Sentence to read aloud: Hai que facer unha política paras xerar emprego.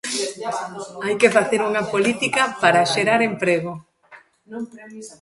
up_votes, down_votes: 0, 2